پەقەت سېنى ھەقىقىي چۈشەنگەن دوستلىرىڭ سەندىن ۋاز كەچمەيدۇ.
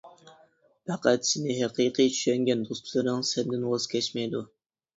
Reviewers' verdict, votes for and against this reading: accepted, 2, 0